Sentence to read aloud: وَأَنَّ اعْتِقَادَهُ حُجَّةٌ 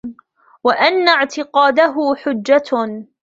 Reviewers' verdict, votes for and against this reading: accepted, 2, 0